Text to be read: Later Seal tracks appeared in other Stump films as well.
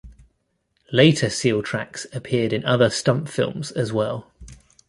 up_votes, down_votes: 2, 0